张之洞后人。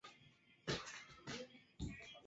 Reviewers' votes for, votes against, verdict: 0, 2, rejected